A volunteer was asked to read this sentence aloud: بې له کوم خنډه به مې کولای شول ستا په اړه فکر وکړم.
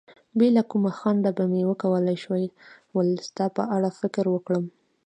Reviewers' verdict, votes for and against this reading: accepted, 2, 0